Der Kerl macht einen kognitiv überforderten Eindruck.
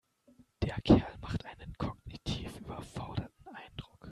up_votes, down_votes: 0, 2